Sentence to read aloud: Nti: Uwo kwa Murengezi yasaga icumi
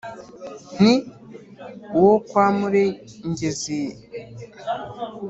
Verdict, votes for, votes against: rejected, 1, 2